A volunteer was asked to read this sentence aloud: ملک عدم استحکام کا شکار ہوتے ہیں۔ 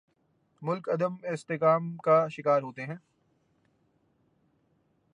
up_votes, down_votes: 3, 0